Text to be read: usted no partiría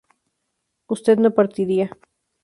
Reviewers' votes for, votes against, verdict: 2, 0, accepted